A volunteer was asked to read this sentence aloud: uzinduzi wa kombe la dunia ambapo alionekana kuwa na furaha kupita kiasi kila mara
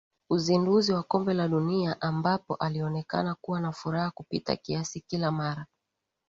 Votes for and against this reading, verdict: 2, 0, accepted